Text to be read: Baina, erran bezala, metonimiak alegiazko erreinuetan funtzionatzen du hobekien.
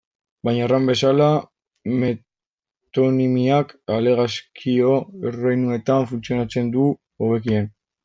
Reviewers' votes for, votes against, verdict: 0, 2, rejected